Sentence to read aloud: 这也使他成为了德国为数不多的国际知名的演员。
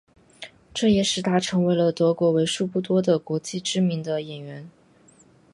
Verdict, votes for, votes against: accepted, 3, 0